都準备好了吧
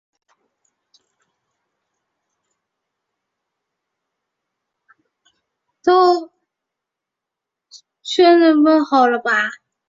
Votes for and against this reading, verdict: 0, 4, rejected